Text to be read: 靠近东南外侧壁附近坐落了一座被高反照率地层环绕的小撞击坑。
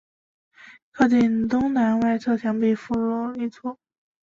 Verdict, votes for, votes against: rejected, 0, 2